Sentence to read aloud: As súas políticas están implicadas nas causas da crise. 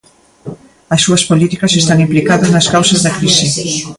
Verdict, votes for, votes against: rejected, 0, 2